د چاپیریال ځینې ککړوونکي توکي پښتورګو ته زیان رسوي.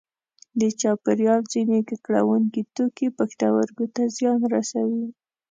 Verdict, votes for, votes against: accepted, 2, 0